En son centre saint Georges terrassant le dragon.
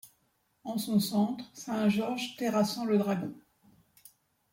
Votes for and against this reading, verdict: 2, 0, accepted